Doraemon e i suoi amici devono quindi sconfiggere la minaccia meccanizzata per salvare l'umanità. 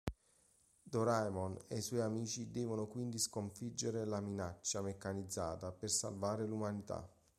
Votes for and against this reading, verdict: 2, 0, accepted